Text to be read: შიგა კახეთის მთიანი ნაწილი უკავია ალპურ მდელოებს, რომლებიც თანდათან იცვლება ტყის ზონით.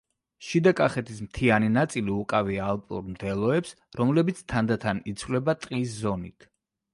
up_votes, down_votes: 1, 2